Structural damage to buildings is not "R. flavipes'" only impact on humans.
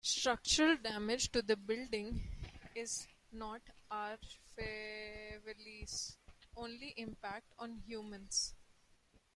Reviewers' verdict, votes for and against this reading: rejected, 0, 2